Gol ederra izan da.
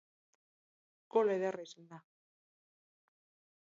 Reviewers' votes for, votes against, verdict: 0, 4, rejected